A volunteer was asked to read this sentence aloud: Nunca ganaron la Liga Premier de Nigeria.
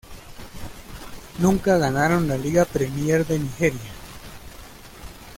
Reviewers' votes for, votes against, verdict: 1, 2, rejected